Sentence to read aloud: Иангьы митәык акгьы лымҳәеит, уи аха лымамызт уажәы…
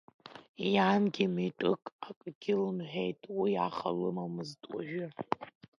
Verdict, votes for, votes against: accepted, 2, 1